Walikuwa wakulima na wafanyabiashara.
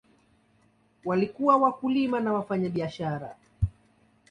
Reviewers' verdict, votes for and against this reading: accepted, 2, 0